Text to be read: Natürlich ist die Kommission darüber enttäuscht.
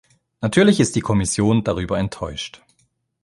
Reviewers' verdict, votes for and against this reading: accepted, 2, 1